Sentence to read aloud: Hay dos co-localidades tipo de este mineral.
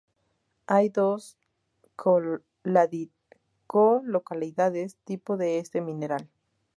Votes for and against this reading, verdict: 2, 2, rejected